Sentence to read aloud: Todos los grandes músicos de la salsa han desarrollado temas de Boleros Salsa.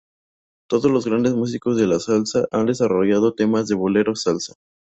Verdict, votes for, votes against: accepted, 4, 0